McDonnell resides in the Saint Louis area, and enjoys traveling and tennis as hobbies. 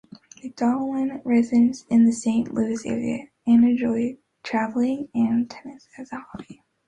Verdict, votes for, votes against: rejected, 1, 3